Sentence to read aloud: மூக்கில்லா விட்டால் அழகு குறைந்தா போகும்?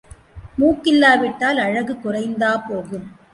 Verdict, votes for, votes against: accepted, 2, 0